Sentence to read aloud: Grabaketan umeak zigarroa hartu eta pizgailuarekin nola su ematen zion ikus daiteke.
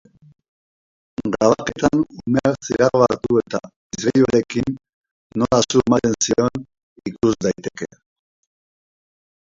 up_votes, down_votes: 0, 3